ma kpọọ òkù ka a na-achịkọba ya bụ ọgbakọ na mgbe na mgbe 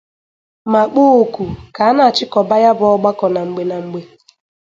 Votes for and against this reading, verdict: 2, 0, accepted